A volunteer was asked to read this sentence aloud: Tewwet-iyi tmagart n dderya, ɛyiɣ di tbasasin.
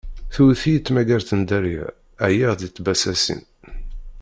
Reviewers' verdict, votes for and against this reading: rejected, 1, 2